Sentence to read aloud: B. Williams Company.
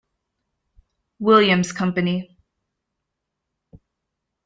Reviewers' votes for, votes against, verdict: 0, 2, rejected